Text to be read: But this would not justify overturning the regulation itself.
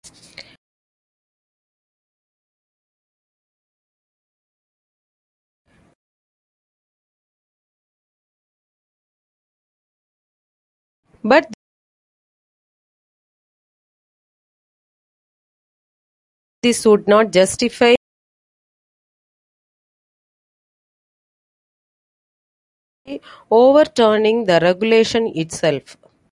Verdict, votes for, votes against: rejected, 0, 2